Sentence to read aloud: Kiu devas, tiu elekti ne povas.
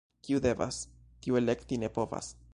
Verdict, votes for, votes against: accepted, 3, 0